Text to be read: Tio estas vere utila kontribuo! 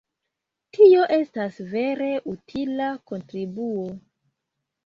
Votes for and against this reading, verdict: 2, 0, accepted